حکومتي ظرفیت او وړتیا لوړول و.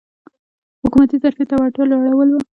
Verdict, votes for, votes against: rejected, 0, 2